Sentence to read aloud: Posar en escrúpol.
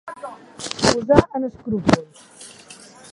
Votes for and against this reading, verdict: 2, 1, accepted